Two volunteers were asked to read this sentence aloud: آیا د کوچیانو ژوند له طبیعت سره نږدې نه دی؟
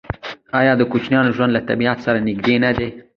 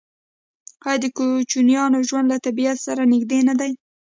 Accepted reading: second